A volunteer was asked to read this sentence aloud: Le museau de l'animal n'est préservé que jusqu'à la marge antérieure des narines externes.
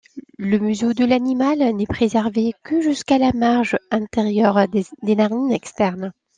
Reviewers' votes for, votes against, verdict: 1, 2, rejected